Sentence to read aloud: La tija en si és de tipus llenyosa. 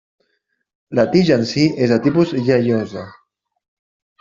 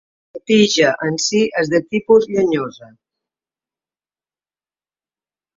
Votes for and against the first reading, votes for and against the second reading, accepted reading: 1, 2, 2, 0, second